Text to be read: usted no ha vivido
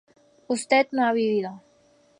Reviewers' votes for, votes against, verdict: 4, 0, accepted